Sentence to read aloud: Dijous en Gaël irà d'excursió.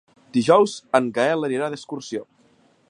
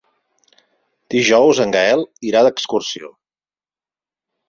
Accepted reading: second